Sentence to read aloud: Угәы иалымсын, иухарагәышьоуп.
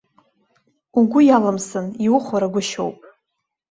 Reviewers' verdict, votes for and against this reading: rejected, 0, 2